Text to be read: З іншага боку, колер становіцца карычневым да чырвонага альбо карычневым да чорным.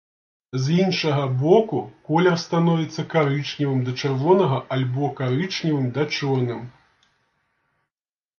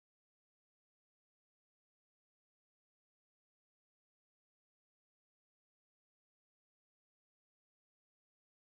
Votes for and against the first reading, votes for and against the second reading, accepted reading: 2, 0, 0, 2, first